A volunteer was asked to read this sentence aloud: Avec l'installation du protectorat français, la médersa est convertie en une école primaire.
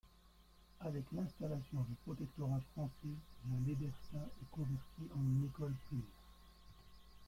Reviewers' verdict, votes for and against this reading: rejected, 0, 2